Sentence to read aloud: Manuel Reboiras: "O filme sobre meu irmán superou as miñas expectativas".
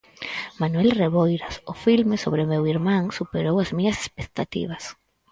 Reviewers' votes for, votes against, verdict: 4, 0, accepted